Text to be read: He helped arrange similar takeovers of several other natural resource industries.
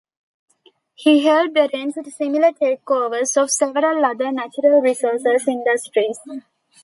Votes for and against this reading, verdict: 1, 2, rejected